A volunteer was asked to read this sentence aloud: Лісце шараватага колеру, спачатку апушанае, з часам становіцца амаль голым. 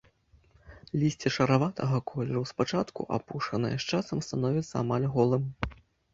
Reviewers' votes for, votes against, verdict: 2, 0, accepted